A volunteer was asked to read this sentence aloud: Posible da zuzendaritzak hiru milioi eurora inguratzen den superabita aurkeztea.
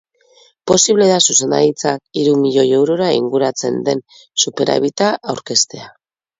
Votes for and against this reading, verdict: 2, 0, accepted